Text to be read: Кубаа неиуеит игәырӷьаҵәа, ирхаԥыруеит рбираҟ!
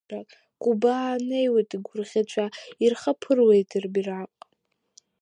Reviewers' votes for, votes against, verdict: 4, 0, accepted